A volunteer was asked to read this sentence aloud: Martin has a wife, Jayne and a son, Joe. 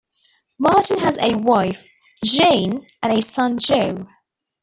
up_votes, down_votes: 2, 1